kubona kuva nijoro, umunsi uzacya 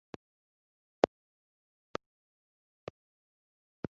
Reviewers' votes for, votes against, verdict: 1, 2, rejected